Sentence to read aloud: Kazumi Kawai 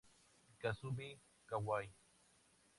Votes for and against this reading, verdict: 0, 4, rejected